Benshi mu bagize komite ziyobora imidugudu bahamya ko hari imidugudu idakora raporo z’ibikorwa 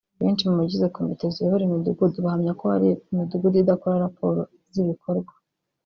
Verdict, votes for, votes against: rejected, 1, 2